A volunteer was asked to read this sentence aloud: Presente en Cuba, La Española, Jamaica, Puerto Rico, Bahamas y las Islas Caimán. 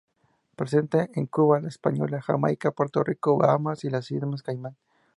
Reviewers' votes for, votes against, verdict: 2, 0, accepted